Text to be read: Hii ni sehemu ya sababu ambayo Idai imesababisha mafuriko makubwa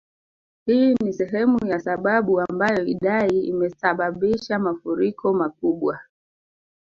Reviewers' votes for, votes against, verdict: 1, 2, rejected